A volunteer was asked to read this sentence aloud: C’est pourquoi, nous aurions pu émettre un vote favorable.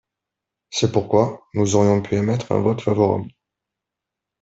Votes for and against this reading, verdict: 2, 0, accepted